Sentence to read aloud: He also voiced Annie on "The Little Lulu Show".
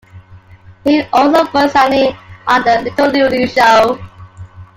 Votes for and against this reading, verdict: 2, 1, accepted